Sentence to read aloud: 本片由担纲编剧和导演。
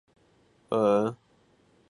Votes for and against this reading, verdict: 0, 4, rejected